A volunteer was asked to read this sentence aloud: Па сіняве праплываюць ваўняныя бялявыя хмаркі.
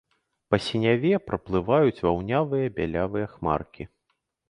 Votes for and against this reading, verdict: 0, 2, rejected